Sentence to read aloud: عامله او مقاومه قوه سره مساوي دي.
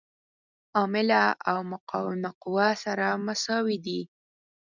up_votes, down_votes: 4, 0